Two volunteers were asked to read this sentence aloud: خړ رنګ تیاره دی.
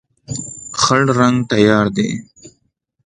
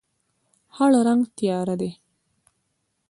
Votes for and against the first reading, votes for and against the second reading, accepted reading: 2, 0, 0, 2, first